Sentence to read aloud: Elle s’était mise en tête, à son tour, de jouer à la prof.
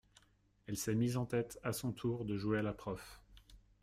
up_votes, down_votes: 0, 2